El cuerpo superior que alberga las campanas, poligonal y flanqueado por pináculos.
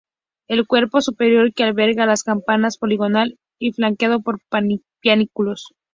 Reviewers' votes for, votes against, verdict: 4, 0, accepted